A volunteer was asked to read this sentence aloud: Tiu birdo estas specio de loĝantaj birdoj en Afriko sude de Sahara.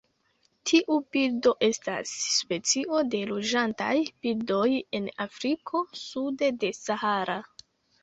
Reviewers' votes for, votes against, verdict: 2, 0, accepted